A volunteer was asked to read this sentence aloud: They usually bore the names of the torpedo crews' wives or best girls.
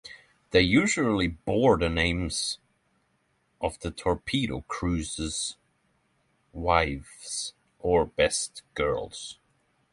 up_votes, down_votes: 0, 3